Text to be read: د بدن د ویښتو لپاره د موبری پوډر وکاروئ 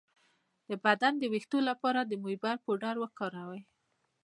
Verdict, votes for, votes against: accepted, 2, 0